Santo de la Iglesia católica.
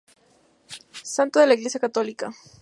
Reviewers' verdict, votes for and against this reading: accepted, 2, 0